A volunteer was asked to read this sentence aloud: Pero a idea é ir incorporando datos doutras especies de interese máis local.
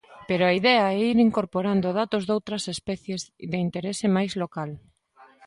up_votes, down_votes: 2, 0